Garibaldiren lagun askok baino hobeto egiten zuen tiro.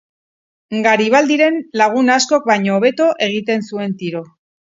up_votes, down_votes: 4, 0